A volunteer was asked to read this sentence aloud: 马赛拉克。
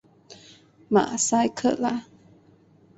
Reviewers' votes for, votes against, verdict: 0, 4, rejected